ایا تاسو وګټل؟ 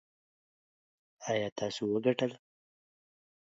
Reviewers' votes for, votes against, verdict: 2, 0, accepted